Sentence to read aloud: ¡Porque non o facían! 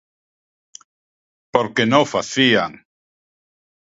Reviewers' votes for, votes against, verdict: 2, 1, accepted